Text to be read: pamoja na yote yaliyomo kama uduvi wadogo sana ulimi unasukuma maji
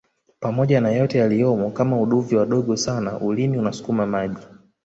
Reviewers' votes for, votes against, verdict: 1, 2, rejected